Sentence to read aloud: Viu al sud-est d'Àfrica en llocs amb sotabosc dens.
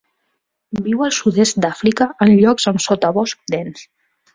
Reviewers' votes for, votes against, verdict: 2, 0, accepted